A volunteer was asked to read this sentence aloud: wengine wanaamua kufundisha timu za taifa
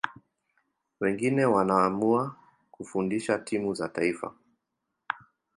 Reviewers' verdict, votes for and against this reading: accepted, 2, 1